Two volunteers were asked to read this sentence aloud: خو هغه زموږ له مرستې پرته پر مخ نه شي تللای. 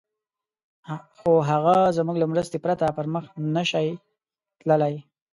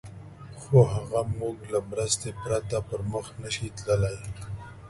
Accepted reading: second